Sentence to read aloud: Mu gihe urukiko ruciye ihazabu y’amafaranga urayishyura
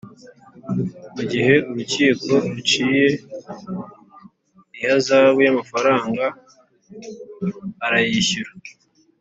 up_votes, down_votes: 0, 2